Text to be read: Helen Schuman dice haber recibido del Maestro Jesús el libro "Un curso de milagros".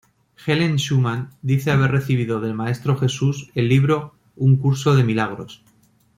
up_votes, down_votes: 2, 0